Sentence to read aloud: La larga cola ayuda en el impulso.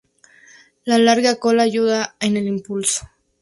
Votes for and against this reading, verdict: 0, 2, rejected